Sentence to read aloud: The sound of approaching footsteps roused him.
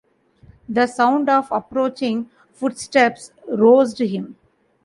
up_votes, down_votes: 2, 0